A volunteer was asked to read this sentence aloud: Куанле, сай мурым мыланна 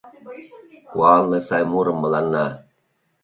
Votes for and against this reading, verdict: 0, 2, rejected